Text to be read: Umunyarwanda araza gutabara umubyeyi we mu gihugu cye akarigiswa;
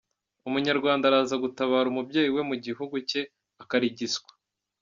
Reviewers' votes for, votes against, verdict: 2, 0, accepted